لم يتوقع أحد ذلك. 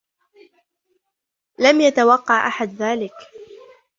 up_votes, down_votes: 0, 2